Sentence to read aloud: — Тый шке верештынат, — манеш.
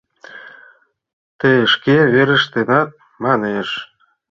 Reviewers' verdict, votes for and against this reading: accepted, 2, 0